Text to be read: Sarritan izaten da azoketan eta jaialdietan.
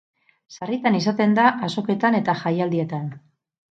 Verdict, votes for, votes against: accepted, 4, 0